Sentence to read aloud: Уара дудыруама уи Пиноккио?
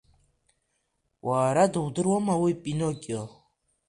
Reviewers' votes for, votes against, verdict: 2, 1, accepted